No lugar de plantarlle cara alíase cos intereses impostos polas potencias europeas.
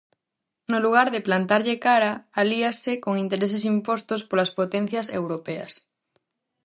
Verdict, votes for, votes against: rejected, 0, 4